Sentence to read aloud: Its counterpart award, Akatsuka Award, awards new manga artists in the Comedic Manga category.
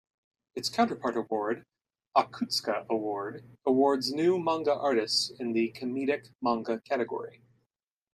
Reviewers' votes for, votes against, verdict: 0, 2, rejected